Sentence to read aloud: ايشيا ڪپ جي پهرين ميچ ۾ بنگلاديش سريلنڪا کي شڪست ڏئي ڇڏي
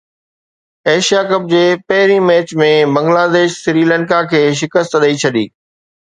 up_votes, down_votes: 2, 0